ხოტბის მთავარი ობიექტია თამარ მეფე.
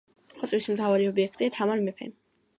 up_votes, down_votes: 2, 0